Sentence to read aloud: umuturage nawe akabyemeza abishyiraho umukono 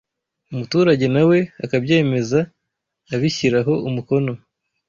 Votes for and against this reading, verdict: 2, 0, accepted